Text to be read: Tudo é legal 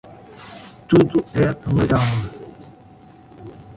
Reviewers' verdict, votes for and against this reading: rejected, 1, 2